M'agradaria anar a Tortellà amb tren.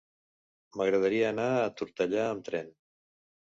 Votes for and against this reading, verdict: 2, 0, accepted